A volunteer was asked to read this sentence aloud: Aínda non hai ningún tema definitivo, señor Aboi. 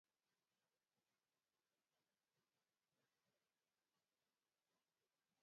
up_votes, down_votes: 0, 2